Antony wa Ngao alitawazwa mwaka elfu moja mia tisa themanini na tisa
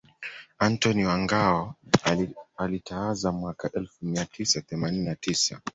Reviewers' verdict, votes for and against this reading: rejected, 1, 2